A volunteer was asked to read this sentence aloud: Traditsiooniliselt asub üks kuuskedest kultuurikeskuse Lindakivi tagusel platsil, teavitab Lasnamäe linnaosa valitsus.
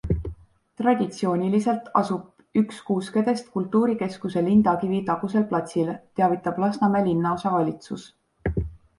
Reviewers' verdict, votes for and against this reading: accepted, 2, 0